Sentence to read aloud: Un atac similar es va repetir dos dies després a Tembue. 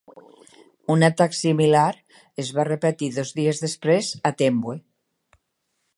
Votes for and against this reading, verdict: 3, 0, accepted